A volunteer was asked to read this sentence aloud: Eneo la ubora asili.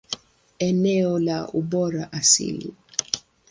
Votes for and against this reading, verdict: 2, 0, accepted